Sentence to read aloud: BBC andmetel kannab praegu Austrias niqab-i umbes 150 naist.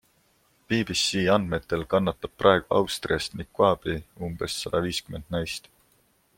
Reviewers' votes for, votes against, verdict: 0, 2, rejected